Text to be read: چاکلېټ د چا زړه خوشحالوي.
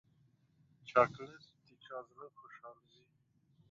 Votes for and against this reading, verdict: 0, 2, rejected